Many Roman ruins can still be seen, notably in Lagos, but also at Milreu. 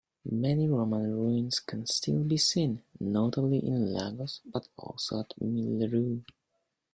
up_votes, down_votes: 1, 2